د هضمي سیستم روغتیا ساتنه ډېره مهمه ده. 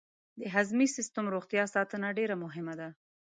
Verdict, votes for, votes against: accepted, 2, 0